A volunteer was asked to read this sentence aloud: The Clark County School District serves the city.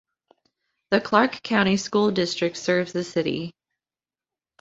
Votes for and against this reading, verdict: 2, 0, accepted